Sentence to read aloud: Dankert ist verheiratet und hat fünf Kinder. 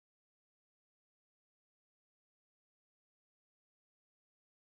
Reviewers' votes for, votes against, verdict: 0, 2, rejected